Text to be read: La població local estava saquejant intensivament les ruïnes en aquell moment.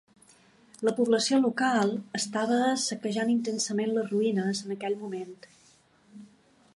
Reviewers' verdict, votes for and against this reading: accepted, 2, 1